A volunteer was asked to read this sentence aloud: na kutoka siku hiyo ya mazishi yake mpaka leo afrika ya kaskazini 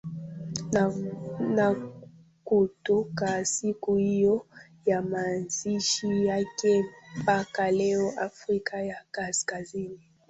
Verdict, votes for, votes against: rejected, 0, 2